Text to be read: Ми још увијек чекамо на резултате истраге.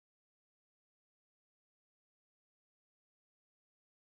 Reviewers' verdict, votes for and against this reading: rejected, 0, 2